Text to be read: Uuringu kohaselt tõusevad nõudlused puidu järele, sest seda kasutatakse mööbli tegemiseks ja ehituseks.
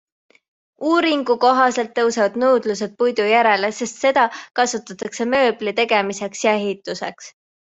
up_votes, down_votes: 2, 0